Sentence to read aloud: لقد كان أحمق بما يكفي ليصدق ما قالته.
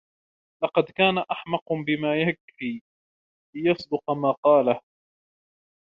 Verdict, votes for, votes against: rejected, 0, 2